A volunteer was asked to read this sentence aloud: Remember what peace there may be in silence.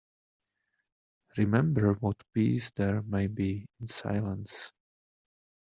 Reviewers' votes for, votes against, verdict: 2, 0, accepted